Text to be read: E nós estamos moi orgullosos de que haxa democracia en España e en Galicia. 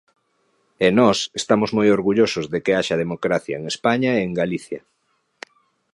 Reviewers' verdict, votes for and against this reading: accepted, 2, 0